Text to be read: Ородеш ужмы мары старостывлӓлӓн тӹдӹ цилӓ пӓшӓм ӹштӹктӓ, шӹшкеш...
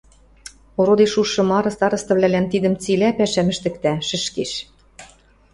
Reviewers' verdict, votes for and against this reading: rejected, 0, 2